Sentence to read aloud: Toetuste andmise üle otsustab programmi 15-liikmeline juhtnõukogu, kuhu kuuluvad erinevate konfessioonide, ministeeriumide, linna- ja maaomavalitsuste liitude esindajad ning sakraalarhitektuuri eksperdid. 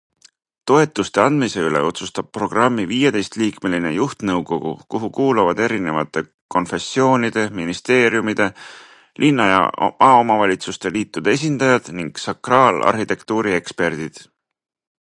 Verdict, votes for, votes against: rejected, 0, 2